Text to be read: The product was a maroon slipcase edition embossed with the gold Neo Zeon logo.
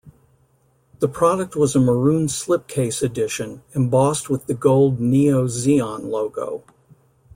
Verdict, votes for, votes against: accepted, 2, 0